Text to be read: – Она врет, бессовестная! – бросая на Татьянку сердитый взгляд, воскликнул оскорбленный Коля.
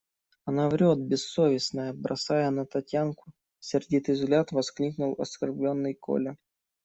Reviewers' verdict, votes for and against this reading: accepted, 2, 0